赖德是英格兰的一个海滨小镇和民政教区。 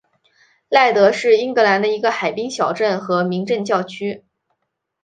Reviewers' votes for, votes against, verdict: 2, 0, accepted